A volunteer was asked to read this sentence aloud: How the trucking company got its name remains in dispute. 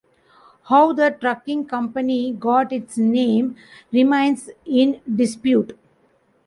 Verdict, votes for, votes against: rejected, 1, 2